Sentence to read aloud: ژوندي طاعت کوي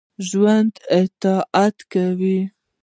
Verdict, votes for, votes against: rejected, 0, 2